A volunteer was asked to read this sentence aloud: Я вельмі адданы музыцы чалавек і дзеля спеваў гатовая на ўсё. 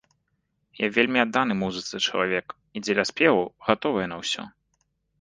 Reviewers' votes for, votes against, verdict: 2, 0, accepted